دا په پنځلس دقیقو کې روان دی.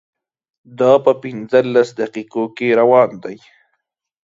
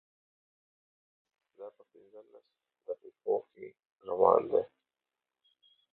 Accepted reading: first